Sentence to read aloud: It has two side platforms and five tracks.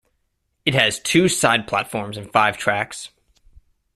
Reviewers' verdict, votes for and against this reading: accepted, 2, 0